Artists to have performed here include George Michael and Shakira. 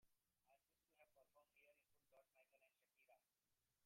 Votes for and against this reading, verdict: 0, 3, rejected